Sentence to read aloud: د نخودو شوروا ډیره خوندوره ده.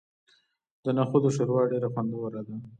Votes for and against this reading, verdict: 2, 1, accepted